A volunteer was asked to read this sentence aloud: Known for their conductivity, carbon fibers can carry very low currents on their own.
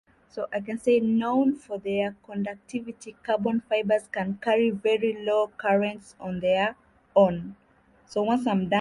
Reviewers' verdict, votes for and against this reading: accepted, 2, 0